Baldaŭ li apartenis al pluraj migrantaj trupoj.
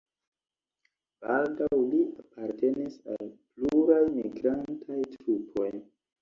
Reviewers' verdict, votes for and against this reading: rejected, 1, 2